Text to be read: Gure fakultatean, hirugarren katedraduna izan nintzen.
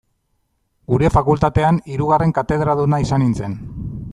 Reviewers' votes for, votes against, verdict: 2, 0, accepted